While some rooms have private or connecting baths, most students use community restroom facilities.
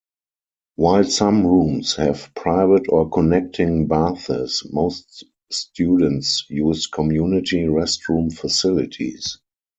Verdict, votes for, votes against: rejected, 0, 4